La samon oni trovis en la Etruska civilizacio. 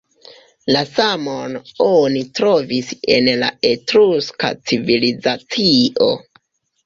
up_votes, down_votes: 0, 2